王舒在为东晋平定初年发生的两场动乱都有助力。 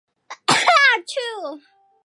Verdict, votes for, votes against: rejected, 0, 2